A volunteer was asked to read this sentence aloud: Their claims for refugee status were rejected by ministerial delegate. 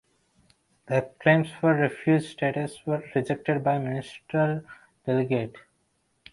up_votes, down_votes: 1, 2